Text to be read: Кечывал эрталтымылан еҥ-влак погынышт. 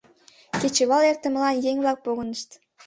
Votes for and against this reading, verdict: 0, 2, rejected